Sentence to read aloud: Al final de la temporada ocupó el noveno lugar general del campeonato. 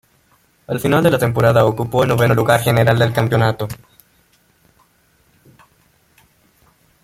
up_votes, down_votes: 1, 2